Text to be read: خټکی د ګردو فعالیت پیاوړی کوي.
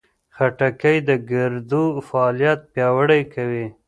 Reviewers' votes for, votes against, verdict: 1, 2, rejected